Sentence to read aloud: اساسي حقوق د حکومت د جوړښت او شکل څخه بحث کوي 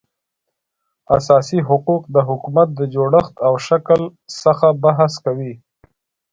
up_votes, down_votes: 3, 0